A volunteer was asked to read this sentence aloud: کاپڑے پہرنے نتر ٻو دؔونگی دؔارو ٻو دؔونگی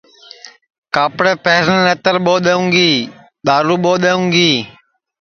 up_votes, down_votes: 2, 0